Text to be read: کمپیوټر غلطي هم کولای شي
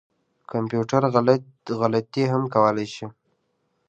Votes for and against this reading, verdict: 2, 0, accepted